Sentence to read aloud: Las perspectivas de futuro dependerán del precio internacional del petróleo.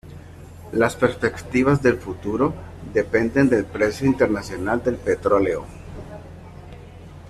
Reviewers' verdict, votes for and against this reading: rejected, 0, 2